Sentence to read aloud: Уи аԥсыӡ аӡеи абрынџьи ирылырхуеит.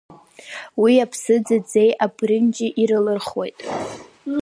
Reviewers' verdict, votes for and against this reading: accepted, 2, 0